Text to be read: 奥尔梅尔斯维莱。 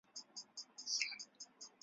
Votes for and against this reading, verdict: 0, 3, rejected